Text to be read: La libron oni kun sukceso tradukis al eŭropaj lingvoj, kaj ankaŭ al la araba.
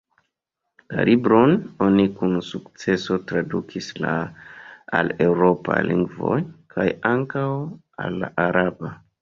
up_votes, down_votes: 2, 0